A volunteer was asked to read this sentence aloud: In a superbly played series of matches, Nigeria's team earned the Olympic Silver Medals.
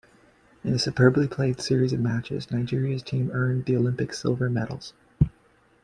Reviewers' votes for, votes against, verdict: 2, 0, accepted